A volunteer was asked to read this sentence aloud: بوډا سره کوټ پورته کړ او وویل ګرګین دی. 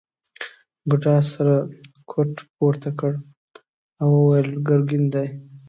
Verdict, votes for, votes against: accepted, 2, 0